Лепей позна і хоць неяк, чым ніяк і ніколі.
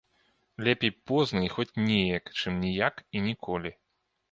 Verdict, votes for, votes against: accepted, 2, 0